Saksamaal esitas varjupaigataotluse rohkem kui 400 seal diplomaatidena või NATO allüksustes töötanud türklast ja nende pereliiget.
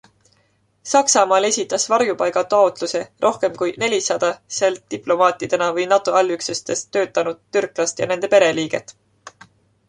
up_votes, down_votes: 0, 2